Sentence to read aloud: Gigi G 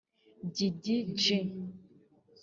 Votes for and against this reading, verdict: 1, 2, rejected